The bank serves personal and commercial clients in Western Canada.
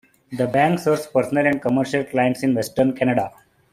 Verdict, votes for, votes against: rejected, 1, 2